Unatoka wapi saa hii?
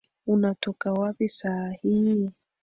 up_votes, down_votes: 1, 2